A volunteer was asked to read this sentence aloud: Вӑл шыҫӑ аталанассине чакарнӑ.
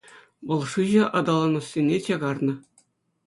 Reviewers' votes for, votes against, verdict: 2, 0, accepted